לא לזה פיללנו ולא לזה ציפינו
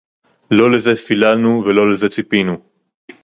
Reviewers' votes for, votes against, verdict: 2, 2, rejected